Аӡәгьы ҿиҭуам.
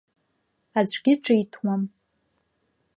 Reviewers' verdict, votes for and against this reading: rejected, 1, 2